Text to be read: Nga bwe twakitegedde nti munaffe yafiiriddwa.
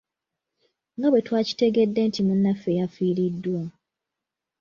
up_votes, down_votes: 2, 0